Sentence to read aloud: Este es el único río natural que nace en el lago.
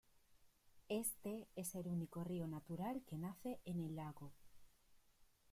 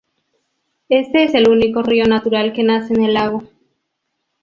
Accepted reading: second